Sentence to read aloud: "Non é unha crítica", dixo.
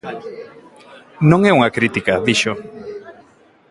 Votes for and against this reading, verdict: 2, 0, accepted